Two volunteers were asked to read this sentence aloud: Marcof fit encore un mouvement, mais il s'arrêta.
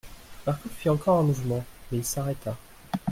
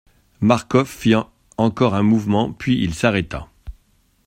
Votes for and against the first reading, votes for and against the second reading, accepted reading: 2, 0, 0, 2, first